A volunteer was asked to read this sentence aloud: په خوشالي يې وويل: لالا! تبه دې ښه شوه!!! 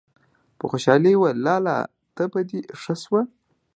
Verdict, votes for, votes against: accepted, 2, 0